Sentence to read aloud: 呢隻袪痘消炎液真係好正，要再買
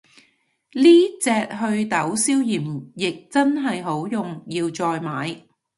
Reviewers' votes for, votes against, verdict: 0, 2, rejected